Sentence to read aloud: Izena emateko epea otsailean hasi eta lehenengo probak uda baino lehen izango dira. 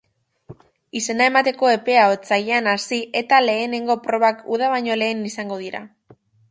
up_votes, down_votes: 6, 1